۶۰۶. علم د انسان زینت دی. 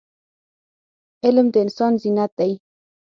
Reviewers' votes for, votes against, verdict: 0, 2, rejected